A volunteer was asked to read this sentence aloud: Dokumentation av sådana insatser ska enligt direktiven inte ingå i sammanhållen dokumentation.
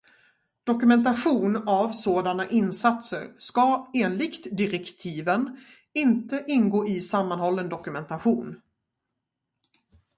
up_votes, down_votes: 2, 2